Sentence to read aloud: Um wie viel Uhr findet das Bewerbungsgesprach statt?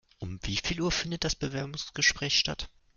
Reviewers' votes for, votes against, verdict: 0, 2, rejected